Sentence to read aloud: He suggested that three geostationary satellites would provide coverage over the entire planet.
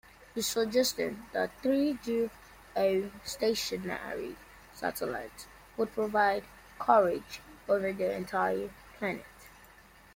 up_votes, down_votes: 0, 2